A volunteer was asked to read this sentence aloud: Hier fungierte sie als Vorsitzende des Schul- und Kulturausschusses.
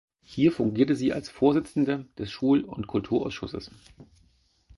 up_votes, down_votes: 4, 0